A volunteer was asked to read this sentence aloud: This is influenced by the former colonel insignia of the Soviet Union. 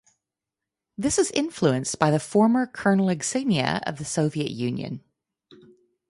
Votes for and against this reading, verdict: 0, 4, rejected